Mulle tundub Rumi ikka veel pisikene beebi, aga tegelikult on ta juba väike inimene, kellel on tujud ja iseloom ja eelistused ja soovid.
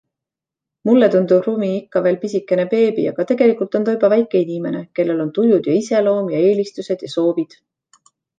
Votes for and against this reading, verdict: 2, 0, accepted